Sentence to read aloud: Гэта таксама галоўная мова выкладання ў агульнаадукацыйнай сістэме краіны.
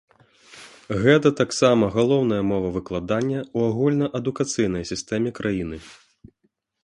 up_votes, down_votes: 2, 0